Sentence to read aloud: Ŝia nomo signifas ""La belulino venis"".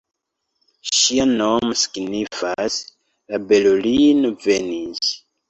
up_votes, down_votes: 2, 1